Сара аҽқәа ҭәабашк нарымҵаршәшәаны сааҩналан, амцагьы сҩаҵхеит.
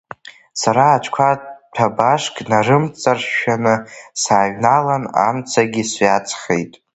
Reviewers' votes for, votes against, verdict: 2, 0, accepted